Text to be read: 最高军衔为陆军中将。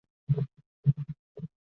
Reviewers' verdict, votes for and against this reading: rejected, 0, 2